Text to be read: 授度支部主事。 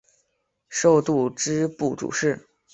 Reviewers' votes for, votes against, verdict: 2, 0, accepted